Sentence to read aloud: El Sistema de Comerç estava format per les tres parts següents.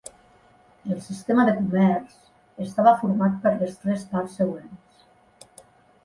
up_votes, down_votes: 1, 2